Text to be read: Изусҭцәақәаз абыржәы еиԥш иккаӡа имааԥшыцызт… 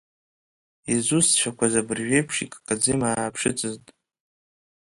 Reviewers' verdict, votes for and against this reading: accepted, 2, 0